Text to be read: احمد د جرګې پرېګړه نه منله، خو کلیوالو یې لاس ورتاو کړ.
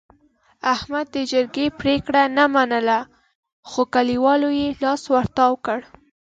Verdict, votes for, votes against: accepted, 2, 0